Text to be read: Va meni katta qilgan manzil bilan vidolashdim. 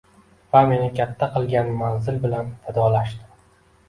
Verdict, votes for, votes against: accepted, 2, 1